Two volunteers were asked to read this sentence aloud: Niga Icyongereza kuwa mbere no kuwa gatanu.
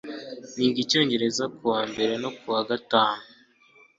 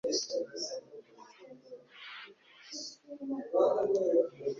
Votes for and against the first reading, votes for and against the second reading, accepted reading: 2, 0, 1, 2, first